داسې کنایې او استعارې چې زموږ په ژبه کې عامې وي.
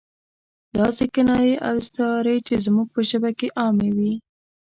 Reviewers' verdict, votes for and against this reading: rejected, 0, 2